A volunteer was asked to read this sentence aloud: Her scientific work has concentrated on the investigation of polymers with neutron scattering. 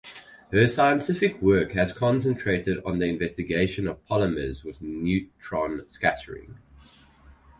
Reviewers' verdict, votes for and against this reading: accepted, 4, 0